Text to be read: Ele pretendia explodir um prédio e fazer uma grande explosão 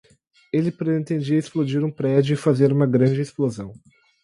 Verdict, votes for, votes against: rejected, 2, 2